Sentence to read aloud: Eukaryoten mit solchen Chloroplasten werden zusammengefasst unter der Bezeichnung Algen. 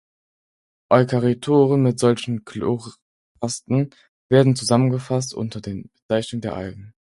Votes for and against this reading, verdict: 0, 4, rejected